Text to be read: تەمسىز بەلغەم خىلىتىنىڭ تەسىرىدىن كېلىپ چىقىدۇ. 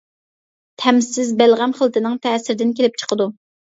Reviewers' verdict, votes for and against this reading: accepted, 2, 0